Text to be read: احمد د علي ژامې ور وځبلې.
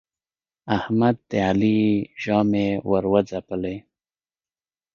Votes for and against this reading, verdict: 2, 0, accepted